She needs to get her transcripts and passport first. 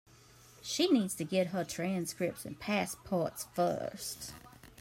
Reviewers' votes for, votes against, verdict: 0, 2, rejected